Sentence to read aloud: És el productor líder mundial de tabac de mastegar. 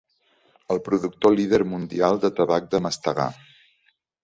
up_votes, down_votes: 0, 2